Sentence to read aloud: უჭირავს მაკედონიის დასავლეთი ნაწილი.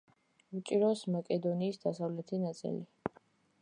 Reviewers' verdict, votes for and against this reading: accepted, 2, 0